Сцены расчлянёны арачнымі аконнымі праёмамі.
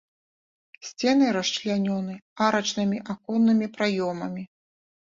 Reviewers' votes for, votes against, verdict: 2, 0, accepted